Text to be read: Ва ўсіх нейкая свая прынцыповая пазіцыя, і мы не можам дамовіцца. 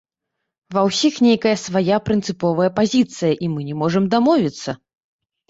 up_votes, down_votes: 1, 2